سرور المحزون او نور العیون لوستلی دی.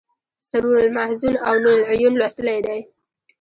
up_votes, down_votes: 1, 2